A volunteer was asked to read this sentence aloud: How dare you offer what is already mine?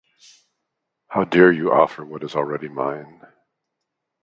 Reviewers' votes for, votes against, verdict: 2, 0, accepted